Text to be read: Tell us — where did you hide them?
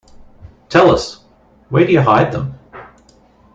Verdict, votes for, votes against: rejected, 1, 2